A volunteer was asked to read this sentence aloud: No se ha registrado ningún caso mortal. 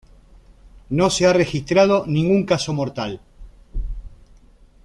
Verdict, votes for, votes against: accepted, 2, 0